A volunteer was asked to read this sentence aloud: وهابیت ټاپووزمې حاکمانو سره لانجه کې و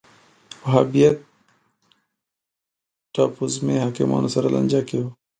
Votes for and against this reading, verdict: 0, 2, rejected